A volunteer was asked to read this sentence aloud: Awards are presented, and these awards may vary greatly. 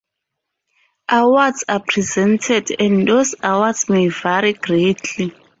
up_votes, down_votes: 0, 4